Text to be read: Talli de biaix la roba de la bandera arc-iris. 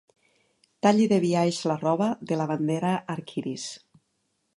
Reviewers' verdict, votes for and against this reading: accepted, 2, 0